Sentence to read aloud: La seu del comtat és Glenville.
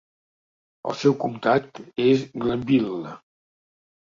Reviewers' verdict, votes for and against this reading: rejected, 1, 2